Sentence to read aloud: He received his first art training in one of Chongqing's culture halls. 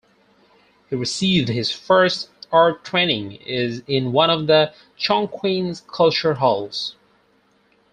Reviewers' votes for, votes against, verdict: 0, 4, rejected